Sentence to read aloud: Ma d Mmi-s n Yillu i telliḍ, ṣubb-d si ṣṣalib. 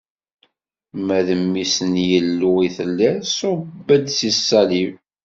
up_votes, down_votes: 2, 0